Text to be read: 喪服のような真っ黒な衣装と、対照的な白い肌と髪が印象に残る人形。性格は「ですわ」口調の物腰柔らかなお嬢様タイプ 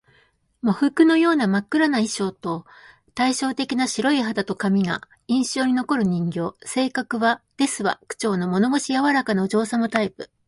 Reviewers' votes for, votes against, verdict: 2, 0, accepted